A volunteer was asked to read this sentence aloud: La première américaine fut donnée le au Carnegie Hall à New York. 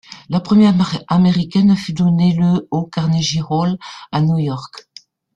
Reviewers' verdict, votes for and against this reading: rejected, 1, 2